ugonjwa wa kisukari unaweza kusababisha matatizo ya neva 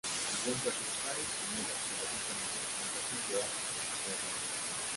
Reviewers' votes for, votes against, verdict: 0, 2, rejected